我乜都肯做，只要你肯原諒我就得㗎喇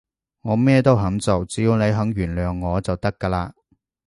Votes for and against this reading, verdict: 0, 2, rejected